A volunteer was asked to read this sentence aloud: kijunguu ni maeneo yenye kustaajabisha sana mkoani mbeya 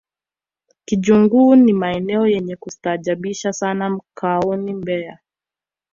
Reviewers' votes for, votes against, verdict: 1, 2, rejected